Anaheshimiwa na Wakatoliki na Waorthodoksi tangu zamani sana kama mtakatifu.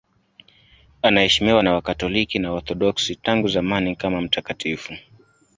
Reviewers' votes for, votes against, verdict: 0, 2, rejected